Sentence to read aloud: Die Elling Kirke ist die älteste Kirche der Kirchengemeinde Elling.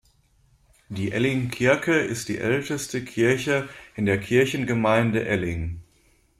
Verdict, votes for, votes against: rejected, 0, 2